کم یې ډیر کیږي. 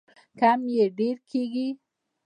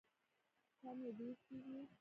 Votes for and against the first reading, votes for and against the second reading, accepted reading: 2, 1, 1, 2, first